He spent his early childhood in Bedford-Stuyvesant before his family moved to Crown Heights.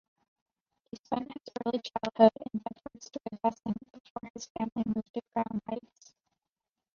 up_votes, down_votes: 0, 2